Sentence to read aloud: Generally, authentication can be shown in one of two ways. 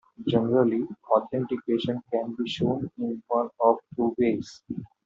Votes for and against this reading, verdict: 2, 0, accepted